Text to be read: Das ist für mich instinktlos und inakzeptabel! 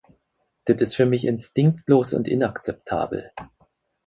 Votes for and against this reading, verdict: 0, 4, rejected